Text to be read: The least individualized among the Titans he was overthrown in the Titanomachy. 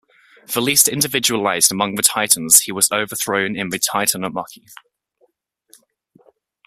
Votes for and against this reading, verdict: 2, 0, accepted